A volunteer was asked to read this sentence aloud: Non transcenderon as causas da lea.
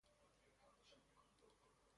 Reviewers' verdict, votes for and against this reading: rejected, 0, 3